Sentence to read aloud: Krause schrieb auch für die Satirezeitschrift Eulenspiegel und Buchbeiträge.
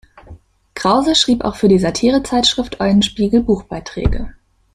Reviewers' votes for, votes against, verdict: 0, 2, rejected